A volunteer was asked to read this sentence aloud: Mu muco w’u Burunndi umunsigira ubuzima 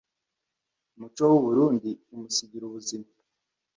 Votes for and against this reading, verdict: 1, 2, rejected